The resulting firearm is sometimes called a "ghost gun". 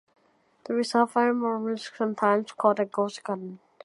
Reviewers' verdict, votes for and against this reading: rejected, 1, 2